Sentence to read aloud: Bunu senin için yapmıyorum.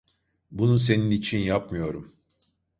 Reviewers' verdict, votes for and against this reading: accepted, 2, 0